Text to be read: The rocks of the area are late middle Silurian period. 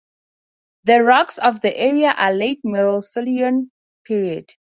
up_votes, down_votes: 6, 4